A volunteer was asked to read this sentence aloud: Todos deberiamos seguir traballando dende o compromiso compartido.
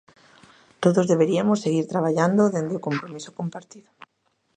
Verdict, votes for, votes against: rejected, 1, 2